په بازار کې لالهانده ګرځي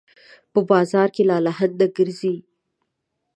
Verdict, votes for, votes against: accepted, 2, 0